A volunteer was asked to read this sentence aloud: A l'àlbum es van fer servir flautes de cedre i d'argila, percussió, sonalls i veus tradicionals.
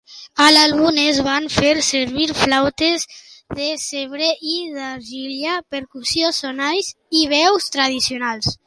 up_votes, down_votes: 0, 2